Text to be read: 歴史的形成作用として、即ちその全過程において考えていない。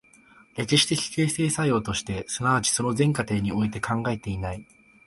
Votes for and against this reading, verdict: 2, 0, accepted